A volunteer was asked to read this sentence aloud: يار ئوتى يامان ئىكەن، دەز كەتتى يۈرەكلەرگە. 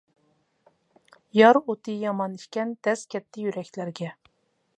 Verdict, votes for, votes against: accepted, 2, 0